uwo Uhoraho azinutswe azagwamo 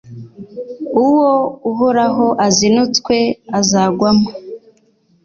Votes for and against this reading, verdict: 2, 0, accepted